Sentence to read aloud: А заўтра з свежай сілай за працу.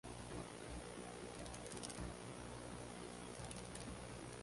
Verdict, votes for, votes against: rejected, 0, 2